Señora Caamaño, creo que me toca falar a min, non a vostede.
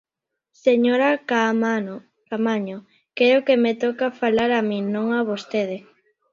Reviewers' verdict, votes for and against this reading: rejected, 1, 3